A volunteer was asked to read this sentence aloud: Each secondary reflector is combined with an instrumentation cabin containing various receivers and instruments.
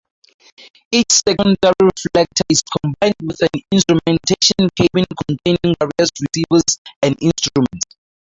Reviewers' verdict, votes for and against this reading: rejected, 0, 4